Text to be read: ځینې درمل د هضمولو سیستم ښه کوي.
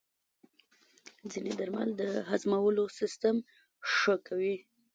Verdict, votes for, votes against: rejected, 1, 2